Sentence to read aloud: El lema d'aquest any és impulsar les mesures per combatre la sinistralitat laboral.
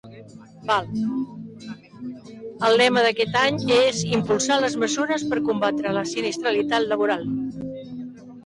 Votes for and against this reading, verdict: 0, 2, rejected